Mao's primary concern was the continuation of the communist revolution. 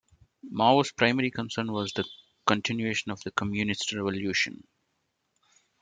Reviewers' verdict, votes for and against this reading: accepted, 2, 0